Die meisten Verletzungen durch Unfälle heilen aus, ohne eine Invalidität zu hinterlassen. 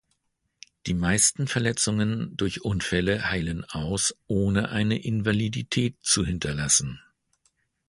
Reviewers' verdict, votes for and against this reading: accepted, 2, 0